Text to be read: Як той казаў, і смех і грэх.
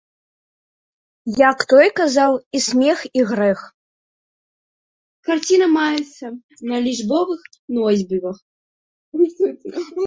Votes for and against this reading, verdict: 0, 2, rejected